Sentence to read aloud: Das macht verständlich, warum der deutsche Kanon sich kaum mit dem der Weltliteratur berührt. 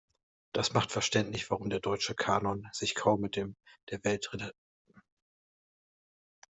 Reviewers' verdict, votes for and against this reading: rejected, 0, 2